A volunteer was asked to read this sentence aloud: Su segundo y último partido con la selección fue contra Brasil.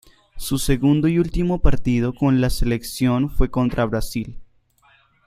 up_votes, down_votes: 2, 0